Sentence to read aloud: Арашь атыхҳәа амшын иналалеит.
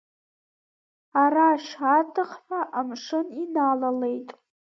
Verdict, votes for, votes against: accepted, 2, 0